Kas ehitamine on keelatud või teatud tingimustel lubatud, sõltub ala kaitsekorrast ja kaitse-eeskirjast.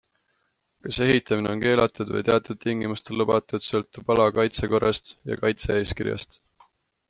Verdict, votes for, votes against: accepted, 2, 0